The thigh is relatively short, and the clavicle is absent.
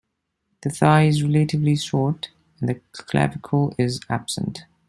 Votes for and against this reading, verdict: 1, 2, rejected